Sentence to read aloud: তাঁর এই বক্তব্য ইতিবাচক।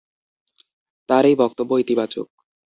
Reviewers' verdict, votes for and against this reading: accepted, 2, 0